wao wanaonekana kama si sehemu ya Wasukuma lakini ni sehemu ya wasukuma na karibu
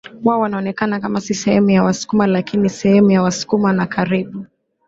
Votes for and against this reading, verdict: 0, 2, rejected